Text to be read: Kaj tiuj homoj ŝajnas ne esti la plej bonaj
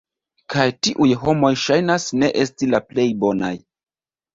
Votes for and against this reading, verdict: 2, 0, accepted